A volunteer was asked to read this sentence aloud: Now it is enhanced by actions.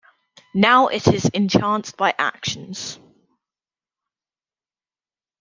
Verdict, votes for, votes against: rejected, 0, 2